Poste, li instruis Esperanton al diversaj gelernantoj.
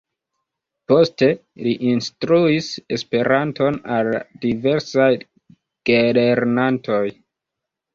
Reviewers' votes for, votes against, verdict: 2, 1, accepted